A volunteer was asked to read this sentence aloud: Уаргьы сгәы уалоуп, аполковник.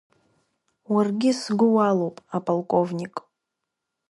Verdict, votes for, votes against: accepted, 2, 1